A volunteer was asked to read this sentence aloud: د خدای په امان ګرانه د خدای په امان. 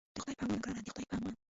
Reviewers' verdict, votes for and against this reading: rejected, 0, 2